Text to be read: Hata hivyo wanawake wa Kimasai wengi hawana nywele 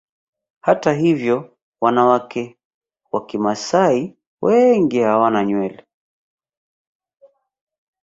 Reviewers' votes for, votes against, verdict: 0, 2, rejected